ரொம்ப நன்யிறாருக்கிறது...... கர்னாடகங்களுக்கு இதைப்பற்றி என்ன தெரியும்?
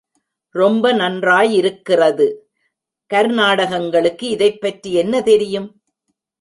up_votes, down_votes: 2, 0